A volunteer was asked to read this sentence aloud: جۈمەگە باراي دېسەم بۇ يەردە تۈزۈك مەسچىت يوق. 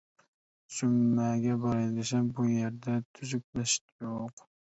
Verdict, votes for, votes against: rejected, 0, 2